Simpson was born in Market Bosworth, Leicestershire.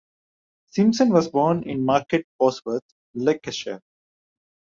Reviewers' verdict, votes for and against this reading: rejected, 0, 2